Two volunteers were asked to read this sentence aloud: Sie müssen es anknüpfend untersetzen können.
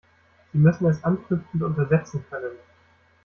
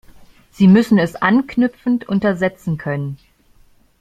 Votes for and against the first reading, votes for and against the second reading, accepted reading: 1, 2, 2, 0, second